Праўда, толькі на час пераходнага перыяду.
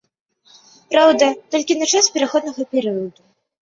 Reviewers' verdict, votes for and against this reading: accepted, 2, 0